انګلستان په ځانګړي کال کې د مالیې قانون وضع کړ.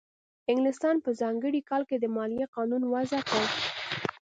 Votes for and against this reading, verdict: 2, 0, accepted